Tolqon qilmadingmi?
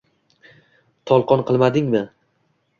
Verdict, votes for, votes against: accepted, 2, 0